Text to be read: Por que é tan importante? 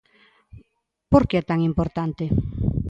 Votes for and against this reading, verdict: 2, 0, accepted